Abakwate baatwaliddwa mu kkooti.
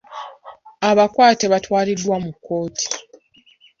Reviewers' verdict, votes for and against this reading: accepted, 2, 1